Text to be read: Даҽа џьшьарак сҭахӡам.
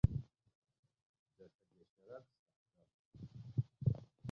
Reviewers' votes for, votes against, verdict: 1, 2, rejected